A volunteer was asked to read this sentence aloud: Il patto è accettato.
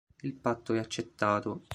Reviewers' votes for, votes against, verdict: 2, 0, accepted